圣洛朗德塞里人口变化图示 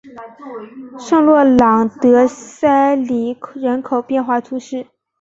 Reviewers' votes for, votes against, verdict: 2, 1, accepted